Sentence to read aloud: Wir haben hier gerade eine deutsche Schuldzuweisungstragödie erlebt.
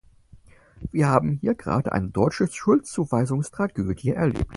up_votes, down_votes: 4, 0